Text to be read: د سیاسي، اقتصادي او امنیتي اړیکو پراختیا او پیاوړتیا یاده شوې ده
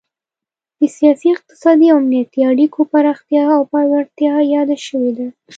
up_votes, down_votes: 2, 0